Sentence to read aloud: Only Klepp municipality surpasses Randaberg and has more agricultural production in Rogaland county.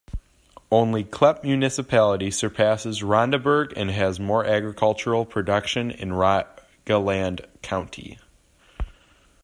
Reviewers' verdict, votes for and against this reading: rejected, 0, 2